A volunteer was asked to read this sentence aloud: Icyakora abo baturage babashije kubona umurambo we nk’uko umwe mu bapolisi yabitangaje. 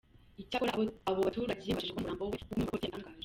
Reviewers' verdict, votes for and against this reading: rejected, 0, 2